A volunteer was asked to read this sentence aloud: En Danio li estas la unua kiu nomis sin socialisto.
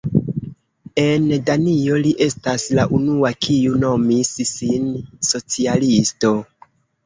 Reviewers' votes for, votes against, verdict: 1, 2, rejected